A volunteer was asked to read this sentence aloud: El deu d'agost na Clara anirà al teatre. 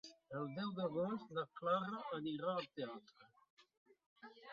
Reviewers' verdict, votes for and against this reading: rejected, 1, 2